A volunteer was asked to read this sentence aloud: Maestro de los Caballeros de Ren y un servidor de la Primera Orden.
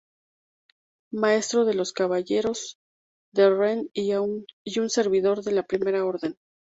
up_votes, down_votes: 0, 2